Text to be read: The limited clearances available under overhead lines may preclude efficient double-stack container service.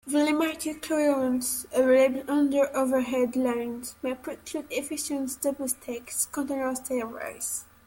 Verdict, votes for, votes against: rejected, 0, 2